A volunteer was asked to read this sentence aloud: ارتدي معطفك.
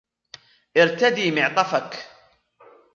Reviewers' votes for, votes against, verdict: 2, 1, accepted